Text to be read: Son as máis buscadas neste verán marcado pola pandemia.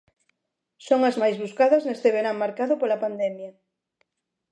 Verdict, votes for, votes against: accepted, 2, 0